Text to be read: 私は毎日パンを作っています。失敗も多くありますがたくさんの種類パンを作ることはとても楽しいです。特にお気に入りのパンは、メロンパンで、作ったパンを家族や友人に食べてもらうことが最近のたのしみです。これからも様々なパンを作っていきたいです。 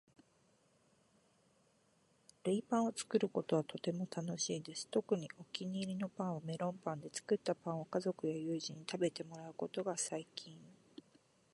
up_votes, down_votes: 0, 2